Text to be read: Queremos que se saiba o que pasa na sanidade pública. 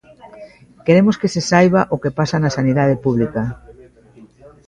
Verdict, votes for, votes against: rejected, 1, 2